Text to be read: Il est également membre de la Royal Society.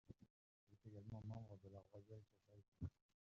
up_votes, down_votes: 0, 2